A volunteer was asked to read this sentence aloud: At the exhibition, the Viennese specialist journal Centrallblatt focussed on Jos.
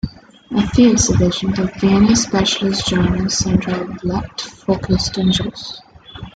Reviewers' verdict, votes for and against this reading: accepted, 2, 1